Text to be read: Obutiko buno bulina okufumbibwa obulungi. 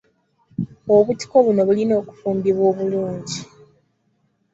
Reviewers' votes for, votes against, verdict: 0, 2, rejected